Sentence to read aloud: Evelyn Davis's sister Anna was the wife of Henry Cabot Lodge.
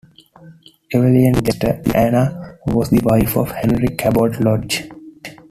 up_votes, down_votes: 1, 2